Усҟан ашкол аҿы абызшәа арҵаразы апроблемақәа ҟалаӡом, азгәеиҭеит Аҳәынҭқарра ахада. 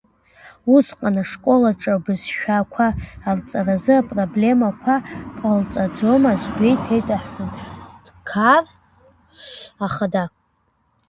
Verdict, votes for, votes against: rejected, 0, 2